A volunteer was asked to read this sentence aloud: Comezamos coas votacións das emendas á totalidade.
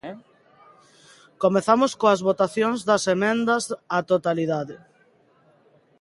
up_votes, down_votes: 1, 2